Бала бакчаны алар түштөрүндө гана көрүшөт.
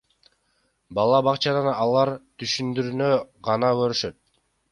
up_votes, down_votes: 0, 2